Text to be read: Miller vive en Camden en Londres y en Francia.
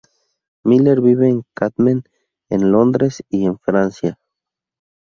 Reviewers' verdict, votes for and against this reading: rejected, 2, 2